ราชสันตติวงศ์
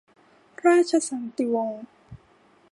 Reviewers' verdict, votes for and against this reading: rejected, 0, 2